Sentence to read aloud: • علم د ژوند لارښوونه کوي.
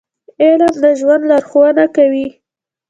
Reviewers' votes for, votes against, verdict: 1, 2, rejected